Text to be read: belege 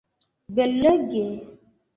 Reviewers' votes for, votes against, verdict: 0, 2, rejected